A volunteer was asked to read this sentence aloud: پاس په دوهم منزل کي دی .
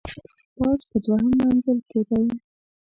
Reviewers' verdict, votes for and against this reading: rejected, 1, 2